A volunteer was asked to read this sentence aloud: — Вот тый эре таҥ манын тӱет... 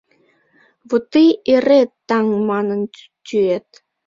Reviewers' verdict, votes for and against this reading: rejected, 1, 2